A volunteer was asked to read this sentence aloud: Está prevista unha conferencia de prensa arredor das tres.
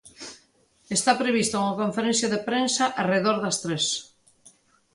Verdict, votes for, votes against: accepted, 2, 0